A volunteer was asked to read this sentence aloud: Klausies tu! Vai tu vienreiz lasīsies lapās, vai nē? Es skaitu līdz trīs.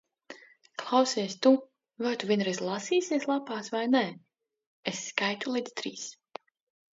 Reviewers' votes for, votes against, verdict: 2, 0, accepted